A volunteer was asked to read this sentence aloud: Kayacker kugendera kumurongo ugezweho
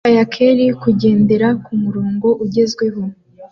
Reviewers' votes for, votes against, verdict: 2, 0, accepted